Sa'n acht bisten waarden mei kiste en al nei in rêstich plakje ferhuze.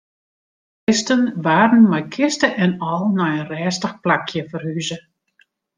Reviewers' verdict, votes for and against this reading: rejected, 0, 2